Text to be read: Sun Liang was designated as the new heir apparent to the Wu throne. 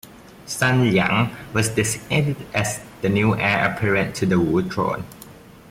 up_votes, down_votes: 1, 2